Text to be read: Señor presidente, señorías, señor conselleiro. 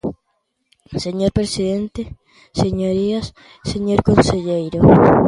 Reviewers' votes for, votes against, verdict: 2, 0, accepted